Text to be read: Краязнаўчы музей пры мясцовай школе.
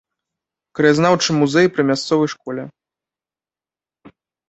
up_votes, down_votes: 0, 2